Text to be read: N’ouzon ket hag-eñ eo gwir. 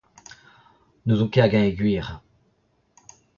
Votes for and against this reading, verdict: 0, 2, rejected